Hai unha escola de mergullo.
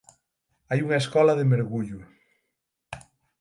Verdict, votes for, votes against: accepted, 6, 0